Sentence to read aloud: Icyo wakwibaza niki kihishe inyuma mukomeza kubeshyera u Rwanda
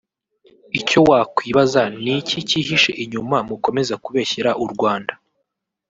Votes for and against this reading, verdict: 2, 0, accepted